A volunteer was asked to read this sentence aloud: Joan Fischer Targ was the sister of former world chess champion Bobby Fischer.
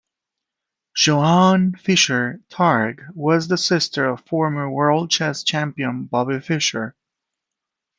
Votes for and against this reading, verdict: 2, 0, accepted